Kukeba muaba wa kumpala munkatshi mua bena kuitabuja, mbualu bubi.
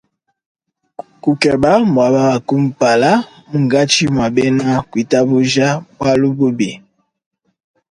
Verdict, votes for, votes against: accepted, 2, 0